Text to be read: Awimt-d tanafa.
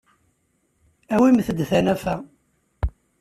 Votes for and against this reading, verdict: 2, 0, accepted